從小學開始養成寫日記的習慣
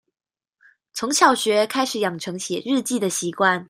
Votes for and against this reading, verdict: 2, 0, accepted